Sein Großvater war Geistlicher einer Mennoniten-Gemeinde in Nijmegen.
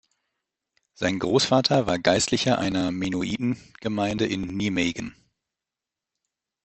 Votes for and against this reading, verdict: 0, 2, rejected